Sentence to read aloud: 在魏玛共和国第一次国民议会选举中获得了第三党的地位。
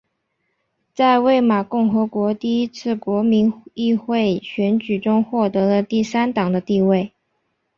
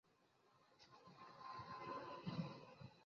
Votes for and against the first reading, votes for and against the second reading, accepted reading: 4, 1, 0, 4, first